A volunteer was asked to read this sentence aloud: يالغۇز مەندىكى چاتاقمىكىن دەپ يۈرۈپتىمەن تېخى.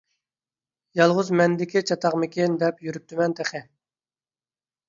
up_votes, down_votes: 2, 0